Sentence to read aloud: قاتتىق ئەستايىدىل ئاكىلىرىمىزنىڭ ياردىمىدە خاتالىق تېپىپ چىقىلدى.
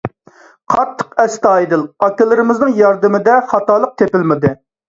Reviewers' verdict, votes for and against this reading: rejected, 0, 2